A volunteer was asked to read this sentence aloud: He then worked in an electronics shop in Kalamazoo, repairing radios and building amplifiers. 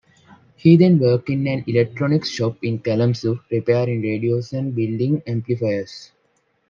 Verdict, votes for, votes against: accepted, 2, 1